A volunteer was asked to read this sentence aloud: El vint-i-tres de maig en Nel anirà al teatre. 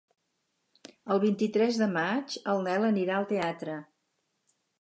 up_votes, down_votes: 0, 2